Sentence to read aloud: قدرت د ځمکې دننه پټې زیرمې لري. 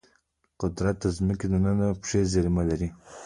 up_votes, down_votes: 2, 1